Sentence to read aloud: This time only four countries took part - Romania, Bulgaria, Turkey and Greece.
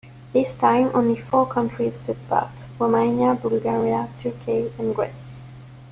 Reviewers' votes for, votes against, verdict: 0, 2, rejected